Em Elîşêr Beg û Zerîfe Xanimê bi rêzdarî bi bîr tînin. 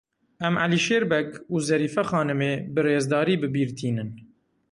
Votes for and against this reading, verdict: 2, 0, accepted